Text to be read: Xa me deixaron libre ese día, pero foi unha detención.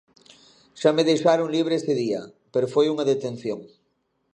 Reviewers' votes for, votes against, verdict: 2, 0, accepted